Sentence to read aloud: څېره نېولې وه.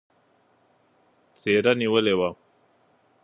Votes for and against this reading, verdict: 2, 1, accepted